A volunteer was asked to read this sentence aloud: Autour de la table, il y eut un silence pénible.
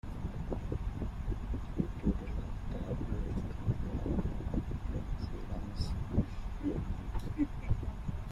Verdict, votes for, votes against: rejected, 0, 2